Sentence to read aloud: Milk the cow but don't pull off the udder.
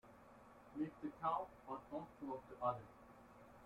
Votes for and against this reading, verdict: 0, 2, rejected